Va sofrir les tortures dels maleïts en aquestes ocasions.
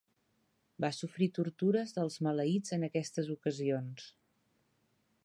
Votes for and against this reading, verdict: 2, 3, rejected